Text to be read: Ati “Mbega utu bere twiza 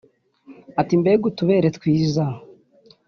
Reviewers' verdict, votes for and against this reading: accepted, 2, 0